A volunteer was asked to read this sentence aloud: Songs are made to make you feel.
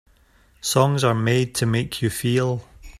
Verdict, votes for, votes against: accepted, 2, 0